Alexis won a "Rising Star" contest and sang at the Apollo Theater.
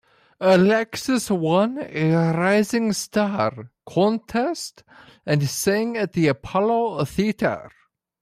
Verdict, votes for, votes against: rejected, 0, 2